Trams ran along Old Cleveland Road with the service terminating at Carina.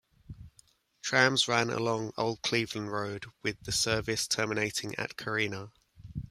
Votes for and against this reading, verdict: 2, 0, accepted